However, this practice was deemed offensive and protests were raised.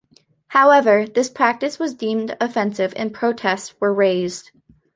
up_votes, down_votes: 2, 0